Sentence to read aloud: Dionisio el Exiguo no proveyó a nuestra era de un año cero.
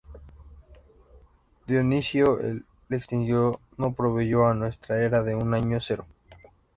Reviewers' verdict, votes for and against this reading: rejected, 0, 2